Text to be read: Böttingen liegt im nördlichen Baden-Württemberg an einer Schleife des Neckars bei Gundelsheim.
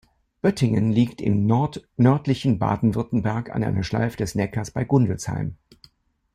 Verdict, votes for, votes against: rejected, 1, 2